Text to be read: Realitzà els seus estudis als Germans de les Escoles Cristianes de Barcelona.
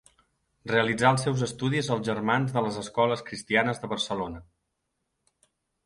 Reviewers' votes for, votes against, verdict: 4, 0, accepted